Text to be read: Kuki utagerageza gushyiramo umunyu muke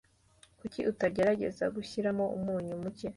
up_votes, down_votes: 2, 0